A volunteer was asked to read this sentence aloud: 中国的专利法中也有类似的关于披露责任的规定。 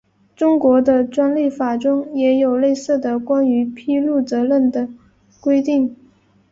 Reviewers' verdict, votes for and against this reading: accepted, 2, 0